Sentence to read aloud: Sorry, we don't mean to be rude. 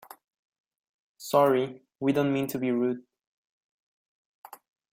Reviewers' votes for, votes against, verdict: 0, 2, rejected